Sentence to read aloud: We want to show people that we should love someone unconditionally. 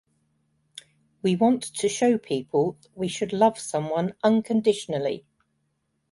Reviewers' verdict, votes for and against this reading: rejected, 1, 2